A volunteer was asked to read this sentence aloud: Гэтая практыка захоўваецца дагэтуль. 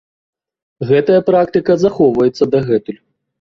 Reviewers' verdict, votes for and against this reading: accepted, 2, 0